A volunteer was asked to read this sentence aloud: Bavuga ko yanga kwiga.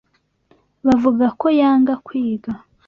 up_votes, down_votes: 2, 0